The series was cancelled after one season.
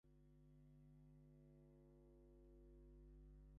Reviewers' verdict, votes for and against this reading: rejected, 0, 2